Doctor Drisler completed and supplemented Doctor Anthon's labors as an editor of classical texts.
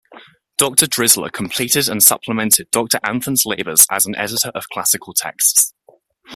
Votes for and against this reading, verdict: 2, 0, accepted